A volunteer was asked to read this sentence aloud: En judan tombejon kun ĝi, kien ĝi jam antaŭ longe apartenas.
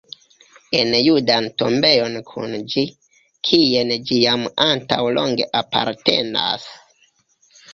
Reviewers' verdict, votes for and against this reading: accepted, 3, 2